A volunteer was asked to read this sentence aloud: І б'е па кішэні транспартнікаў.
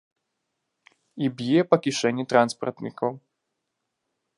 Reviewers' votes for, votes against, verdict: 2, 0, accepted